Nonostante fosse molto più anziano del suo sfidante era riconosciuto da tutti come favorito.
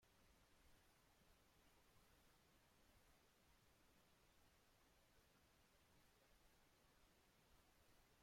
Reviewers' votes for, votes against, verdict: 0, 2, rejected